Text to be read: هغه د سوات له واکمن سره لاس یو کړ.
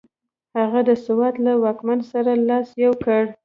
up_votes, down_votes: 1, 2